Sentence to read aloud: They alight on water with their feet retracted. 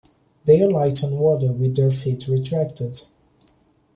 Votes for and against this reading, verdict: 3, 1, accepted